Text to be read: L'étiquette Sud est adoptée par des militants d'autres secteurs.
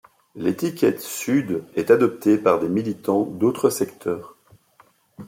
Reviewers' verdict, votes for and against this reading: accepted, 2, 0